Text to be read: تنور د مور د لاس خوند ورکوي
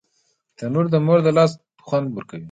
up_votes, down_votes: 2, 0